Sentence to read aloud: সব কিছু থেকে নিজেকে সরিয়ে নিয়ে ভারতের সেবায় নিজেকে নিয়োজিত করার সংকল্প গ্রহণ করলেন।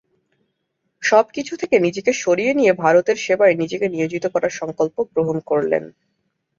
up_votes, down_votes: 2, 0